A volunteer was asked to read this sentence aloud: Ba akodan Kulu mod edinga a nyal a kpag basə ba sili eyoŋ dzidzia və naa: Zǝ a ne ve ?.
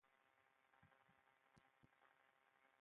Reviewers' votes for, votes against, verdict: 0, 2, rejected